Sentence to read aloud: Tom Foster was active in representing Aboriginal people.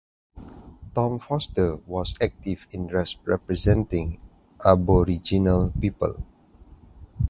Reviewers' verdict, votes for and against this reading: rejected, 0, 2